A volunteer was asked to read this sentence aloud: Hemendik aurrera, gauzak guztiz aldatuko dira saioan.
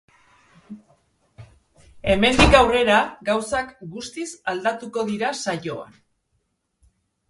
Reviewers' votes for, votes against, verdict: 2, 0, accepted